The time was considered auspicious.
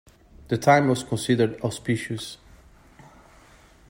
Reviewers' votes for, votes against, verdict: 2, 0, accepted